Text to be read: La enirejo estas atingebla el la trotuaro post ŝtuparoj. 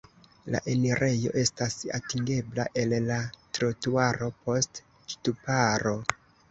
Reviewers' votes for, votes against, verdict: 0, 2, rejected